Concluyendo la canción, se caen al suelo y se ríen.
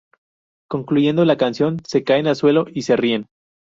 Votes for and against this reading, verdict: 0, 2, rejected